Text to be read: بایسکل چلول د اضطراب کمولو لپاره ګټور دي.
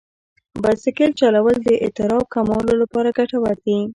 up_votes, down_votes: 1, 2